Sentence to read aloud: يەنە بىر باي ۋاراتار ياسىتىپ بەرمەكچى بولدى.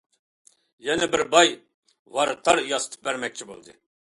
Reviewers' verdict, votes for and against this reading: accepted, 2, 0